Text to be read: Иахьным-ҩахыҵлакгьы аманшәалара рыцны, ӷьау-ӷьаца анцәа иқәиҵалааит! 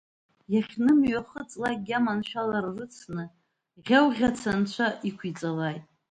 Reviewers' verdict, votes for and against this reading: accepted, 2, 0